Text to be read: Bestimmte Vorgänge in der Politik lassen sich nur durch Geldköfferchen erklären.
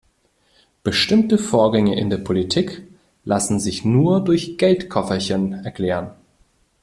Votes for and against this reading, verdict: 0, 2, rejected